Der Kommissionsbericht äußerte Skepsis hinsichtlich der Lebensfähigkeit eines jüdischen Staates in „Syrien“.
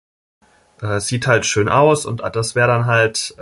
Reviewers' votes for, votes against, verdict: 0, 2, rejected